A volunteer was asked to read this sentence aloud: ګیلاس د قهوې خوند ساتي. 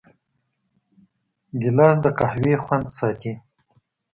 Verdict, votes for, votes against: accepted, 2, 0